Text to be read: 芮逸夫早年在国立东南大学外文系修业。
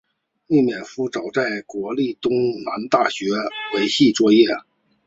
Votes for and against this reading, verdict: 0, 2, rejected